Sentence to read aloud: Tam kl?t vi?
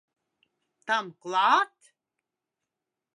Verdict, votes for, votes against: rejected, 0, 2